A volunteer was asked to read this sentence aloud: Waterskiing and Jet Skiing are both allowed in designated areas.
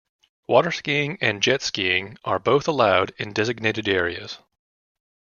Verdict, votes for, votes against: accepted, 2, 1